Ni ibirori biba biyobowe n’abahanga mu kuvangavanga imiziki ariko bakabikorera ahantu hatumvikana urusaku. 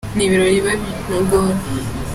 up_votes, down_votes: 0, 4